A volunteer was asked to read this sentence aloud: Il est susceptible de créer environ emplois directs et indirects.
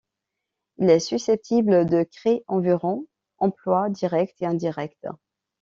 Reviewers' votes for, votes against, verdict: 2, 0, accepted